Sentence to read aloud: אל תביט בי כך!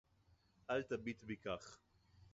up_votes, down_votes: 2, 2